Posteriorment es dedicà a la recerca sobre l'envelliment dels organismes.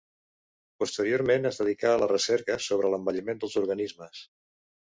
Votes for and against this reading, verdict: 2, 0, accepted